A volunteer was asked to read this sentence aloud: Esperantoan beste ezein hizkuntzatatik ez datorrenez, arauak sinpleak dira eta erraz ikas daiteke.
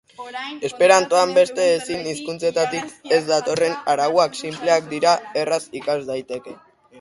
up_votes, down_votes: 0, 2